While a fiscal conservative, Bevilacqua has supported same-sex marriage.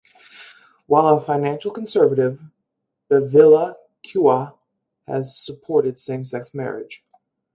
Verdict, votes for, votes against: rejected, 0, 4